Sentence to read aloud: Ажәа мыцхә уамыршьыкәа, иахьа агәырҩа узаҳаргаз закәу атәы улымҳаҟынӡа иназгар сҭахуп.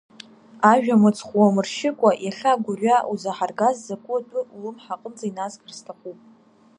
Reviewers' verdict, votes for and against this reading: accepted, 2, 0